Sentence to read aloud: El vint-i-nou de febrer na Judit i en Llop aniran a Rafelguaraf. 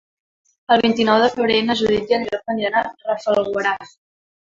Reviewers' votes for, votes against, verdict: 0, 2, rejected